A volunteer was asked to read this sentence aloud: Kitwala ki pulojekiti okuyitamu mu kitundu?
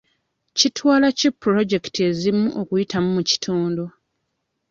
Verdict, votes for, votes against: rejected, 1, 2